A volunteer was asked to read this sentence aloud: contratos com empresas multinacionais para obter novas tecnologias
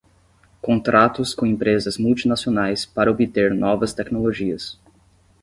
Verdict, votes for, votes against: accepted, 10, 0